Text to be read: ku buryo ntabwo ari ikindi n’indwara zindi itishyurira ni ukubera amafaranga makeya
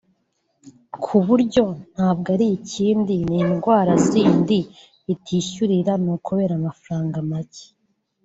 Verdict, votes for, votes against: rejected, 1, 2